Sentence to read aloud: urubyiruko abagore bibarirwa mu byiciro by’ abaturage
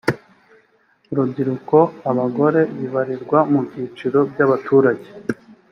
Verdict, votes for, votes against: accepted, 2, 0